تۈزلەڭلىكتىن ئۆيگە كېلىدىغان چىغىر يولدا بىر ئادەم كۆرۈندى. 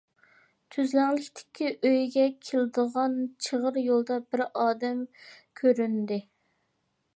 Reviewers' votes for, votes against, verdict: 0, 2, rejected